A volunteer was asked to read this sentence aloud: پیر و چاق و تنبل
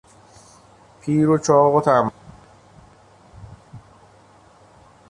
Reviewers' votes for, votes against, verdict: 1, 2, rejected